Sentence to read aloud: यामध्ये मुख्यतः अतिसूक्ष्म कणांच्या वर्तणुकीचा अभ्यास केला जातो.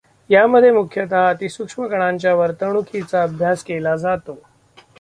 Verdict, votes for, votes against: accepted, 2, 1